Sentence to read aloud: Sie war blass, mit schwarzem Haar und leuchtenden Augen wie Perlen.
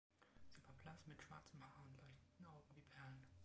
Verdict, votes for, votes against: rejected, 0, 3